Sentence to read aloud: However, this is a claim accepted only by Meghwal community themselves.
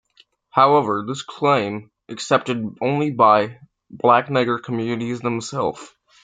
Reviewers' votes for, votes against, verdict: 0, 2, rejected